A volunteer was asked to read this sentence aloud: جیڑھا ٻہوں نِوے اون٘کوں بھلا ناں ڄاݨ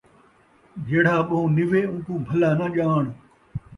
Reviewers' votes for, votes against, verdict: 2, 0, accepted